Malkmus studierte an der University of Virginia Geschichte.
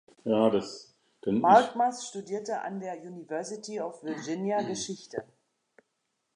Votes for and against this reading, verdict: 0, 2, rejected